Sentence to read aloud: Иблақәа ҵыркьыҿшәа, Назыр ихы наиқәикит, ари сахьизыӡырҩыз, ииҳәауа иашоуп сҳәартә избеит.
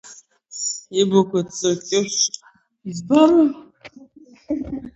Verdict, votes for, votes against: rejected, 0, 11